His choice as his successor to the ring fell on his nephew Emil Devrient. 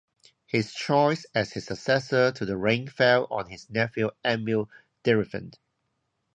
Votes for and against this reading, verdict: 0, 2, rejected